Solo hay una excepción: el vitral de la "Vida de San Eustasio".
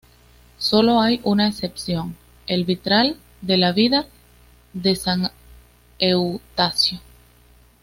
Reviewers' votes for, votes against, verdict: 2, 0, accepted